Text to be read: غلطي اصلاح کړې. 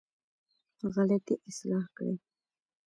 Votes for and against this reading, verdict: 2, 0, accepted